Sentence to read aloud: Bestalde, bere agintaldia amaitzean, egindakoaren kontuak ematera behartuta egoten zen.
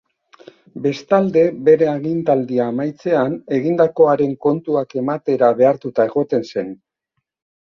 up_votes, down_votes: 2, 0